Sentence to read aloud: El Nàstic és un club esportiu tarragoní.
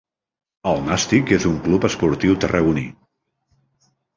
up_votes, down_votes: 2, 0